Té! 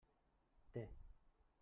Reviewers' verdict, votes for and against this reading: rejected, 0, 2